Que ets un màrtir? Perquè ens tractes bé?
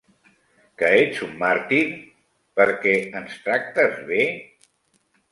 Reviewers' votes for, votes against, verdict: 3, 0, accepted